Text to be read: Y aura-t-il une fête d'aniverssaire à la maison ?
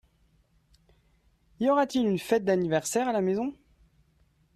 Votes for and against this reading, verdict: 2, 0, accepted